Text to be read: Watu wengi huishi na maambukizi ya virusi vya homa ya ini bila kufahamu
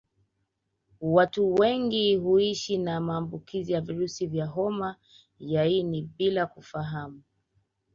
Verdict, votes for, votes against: rejected, 1, 2